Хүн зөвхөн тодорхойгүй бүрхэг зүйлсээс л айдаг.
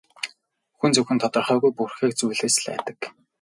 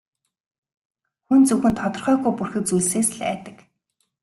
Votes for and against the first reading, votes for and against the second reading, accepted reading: 0, 2, 3, 0, second